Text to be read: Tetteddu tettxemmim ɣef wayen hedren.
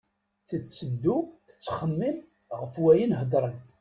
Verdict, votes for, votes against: accepted, 2, 0